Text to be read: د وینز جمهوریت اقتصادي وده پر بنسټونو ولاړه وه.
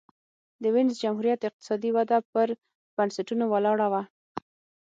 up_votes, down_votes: 6, 0